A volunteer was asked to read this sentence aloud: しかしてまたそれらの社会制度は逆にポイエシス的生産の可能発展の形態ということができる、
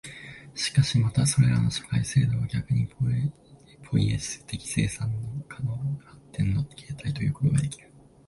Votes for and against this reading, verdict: 0, 3, rejected